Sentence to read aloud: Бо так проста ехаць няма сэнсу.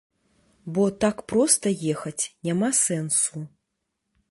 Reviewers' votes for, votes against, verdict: 1, 2, rejected